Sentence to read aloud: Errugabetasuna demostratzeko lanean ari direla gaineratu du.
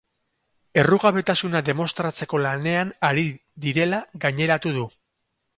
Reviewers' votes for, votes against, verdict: 4, 0, accepted